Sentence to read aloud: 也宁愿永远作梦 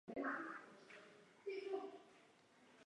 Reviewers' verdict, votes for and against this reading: rejected, 1, 2